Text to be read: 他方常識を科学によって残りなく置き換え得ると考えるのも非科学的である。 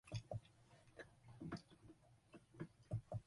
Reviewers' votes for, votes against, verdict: 0, 2, rejected